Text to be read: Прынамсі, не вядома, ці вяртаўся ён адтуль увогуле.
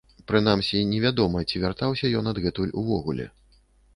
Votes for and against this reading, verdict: 1, 2, rejected